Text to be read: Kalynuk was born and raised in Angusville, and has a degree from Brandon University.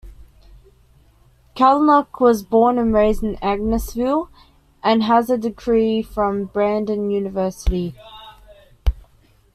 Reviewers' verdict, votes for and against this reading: accepted, 2, 0